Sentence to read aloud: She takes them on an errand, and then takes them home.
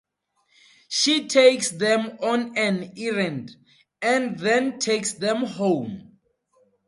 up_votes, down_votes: 4, 0